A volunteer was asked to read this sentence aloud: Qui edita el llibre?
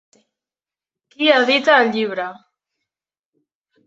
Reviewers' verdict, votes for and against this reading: rejected, 0, 2